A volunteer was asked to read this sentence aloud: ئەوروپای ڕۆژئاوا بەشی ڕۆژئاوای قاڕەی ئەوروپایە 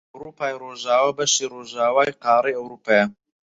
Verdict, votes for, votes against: rejected, 0, 4